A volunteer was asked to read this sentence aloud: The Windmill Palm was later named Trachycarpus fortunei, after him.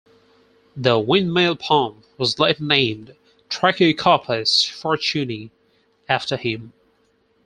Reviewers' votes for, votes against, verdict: 2, 4, rejected